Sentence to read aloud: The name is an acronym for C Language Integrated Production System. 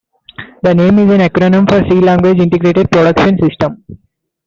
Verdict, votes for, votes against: accepted, 2, 1